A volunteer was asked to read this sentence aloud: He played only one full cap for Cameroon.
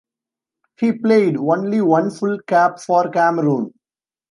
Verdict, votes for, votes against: rejected, 1, 2